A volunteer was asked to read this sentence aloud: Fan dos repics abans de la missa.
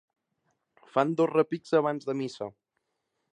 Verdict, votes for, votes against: rejected, 0, 2